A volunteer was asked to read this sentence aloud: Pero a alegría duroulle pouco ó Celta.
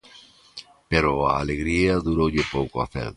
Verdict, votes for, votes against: rejected, 0, 2